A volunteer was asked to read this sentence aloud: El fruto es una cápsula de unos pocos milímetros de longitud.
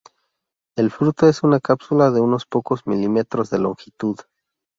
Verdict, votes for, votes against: accepted, 2, 0